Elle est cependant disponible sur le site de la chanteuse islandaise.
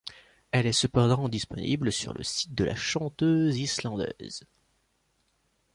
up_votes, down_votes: 2, 0